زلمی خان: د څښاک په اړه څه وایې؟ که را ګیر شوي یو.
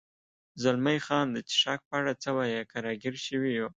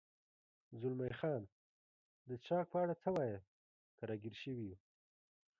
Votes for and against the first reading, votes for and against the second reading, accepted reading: 2, 0, 0, 2, first